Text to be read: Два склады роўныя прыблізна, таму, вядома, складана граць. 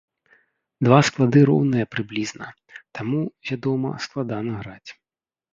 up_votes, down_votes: 3, 0